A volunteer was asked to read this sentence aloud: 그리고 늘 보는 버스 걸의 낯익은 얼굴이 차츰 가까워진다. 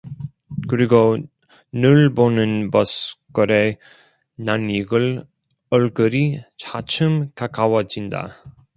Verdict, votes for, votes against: rejected, 0, 2